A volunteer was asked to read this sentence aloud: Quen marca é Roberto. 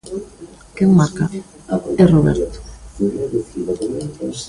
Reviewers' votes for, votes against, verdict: 1, 2, rejected